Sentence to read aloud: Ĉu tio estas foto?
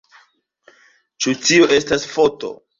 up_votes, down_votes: 3, 2